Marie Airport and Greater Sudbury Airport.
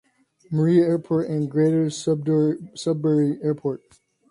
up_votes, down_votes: 2, 1